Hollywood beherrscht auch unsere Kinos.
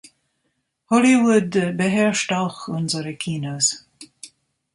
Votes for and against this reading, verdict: 0, 3, rejected